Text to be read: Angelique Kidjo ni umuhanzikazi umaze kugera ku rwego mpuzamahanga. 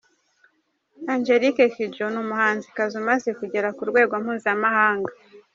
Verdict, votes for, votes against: accepted, 3, 0